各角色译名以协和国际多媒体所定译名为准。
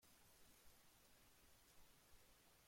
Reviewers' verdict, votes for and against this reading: rejected, 0, 2